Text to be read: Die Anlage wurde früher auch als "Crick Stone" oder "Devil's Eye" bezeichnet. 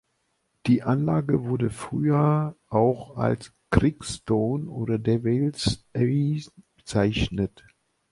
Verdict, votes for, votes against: rejected, 0, 2